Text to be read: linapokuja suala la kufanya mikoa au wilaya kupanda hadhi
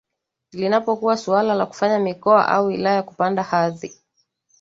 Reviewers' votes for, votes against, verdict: 0, 2, rejected